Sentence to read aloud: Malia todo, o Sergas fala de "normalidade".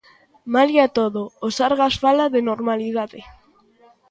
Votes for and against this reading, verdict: 2, 0, accepted